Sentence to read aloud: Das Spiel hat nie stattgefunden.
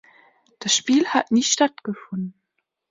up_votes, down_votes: 3, 1